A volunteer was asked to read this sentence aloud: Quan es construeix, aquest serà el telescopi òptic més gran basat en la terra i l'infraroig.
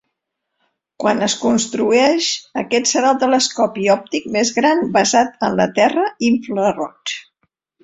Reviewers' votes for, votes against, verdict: 1, 2, rejected